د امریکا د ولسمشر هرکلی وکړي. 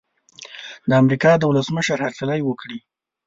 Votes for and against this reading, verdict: 2, 0, accepted